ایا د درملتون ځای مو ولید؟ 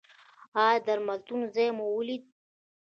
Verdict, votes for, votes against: rejected, 1, 2